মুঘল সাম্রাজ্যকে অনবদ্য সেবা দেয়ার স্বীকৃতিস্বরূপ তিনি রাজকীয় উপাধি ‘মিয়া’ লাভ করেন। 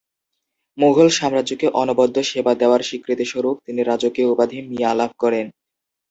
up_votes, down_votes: 3, 0